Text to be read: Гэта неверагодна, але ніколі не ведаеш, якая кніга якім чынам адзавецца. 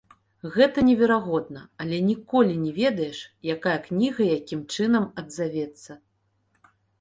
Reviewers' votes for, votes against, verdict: 2, 0, accepted